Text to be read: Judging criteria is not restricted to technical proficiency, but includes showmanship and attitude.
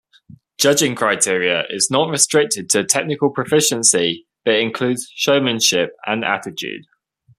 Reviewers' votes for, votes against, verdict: 2, 0, accepted